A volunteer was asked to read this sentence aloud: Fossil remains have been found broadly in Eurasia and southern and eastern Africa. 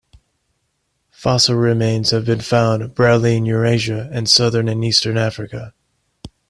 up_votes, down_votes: 2, 0